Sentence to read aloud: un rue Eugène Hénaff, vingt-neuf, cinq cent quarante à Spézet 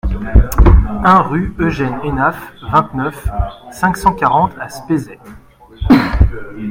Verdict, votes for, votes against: accepted, 2, 1